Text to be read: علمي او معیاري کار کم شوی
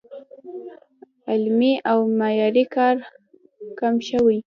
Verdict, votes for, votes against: rejected, 1, 2